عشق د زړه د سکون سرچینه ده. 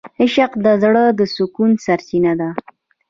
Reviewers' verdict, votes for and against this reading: accepted, 2, 1